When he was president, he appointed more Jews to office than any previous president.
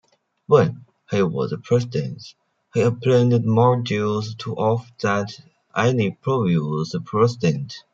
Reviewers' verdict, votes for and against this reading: rejected, 0, 2